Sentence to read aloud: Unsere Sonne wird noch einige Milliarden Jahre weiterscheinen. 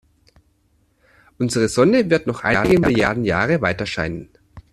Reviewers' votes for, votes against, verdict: 0, 2, rejected